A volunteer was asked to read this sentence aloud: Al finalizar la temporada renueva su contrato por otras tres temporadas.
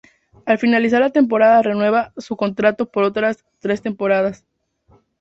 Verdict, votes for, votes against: accepted, 2, 0